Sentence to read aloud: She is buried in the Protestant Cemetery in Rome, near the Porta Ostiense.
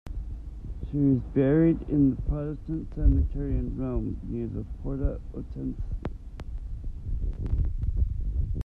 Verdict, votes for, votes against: rejected, 0, 2